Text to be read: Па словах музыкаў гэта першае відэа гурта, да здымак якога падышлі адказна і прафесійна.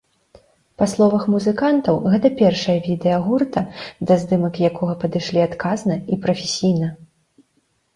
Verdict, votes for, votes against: rejected, 0, 2